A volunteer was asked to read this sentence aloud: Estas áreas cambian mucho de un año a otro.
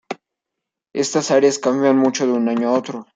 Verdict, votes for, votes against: accepted, 2, 0